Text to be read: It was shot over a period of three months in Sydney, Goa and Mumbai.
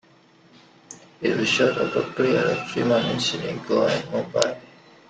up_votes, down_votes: 0, 2